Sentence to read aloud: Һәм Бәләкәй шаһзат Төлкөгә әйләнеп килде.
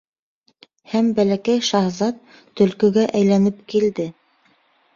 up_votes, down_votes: 2, 0